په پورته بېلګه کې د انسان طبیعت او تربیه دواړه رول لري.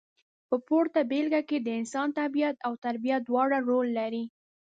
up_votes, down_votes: 2, 0